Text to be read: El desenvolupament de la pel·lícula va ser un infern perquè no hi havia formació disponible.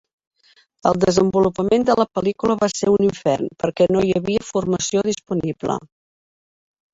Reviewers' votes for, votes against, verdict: 3, 0, accepted